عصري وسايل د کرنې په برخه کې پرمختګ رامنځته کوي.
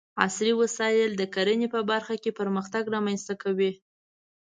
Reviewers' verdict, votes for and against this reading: accepted, 2, 0